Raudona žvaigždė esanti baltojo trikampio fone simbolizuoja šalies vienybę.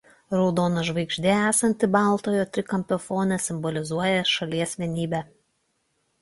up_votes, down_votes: 2, 0